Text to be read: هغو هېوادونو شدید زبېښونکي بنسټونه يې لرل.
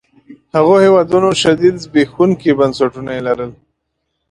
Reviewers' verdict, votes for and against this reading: accepted, 2, 0